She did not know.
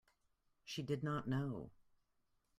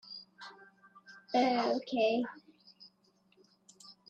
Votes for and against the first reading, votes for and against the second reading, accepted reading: 2, 0, 0, 2, first